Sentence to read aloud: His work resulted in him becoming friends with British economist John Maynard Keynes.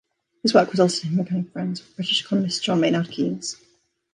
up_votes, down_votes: 2, 1